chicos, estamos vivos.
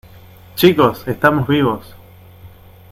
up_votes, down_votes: 2, 0